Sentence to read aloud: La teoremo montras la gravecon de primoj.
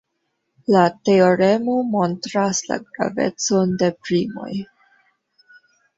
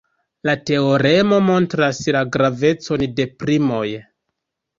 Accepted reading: second